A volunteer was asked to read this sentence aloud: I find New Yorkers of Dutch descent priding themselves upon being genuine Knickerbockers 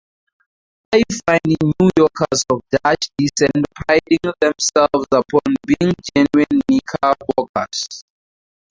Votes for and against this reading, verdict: 0, 4, rejected